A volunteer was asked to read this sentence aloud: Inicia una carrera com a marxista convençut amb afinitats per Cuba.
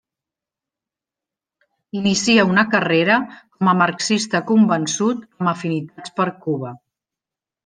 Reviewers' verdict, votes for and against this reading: rejected, 0, 2